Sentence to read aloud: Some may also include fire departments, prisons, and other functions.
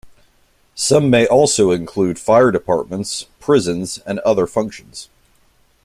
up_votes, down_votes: 2, 0